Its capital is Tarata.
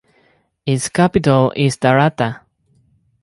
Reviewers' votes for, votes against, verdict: 4, 0, accepted